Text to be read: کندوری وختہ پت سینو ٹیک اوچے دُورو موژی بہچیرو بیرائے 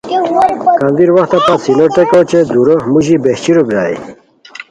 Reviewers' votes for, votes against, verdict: 0, 2, rejected